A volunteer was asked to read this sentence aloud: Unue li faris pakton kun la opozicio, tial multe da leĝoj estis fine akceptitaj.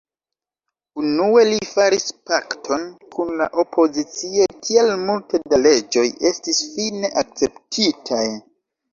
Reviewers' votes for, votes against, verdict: 0, 2, rejected